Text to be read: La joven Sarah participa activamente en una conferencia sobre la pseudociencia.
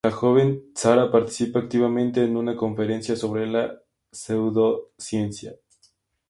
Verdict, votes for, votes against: accepted, 2, 0